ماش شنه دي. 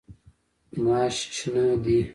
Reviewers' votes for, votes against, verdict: 1, 2, rejected